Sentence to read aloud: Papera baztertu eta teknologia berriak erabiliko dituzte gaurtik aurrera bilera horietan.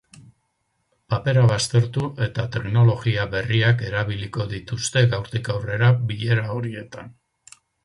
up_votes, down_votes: 4, 2